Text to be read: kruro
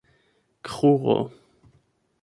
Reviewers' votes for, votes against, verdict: 0, 8, rejected